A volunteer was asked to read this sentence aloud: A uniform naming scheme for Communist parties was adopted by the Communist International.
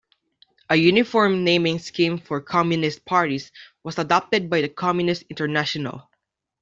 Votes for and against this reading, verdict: 2, 0, accepted